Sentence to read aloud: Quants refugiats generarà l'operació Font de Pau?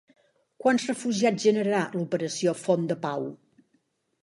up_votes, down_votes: 4, 1